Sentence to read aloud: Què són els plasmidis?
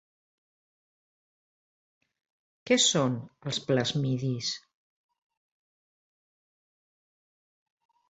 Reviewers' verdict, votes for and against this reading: accepted, 3, 0